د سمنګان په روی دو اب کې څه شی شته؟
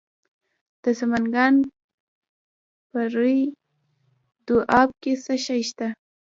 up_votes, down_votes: 1, 3